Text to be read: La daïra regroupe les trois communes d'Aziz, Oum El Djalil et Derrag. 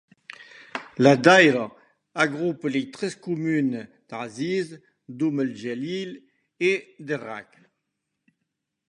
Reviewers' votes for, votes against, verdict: 1, 2, rejected